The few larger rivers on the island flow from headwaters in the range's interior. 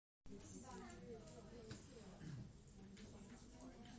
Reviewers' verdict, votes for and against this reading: rejected, 0, 2